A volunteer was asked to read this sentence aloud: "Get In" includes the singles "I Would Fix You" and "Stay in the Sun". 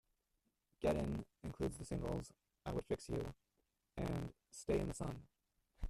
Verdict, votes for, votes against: rejected, 0, 2